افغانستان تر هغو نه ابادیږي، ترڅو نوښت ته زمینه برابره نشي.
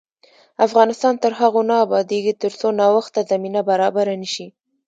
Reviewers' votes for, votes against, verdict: 2, 1, accepted